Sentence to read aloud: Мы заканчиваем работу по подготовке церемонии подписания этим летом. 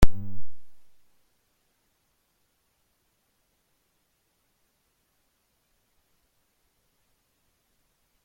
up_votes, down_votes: 0, 2